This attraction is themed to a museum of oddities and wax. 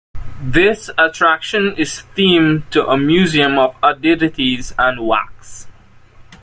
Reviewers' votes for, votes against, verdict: 2, 1, accepted